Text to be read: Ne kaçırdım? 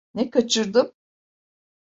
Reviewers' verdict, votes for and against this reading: accepted, 2, 0